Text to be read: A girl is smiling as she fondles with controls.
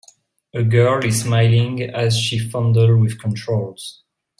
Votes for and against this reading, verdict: 0, 2, rejected